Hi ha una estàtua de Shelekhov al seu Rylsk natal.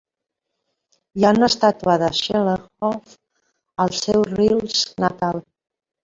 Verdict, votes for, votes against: rejected, 1, 2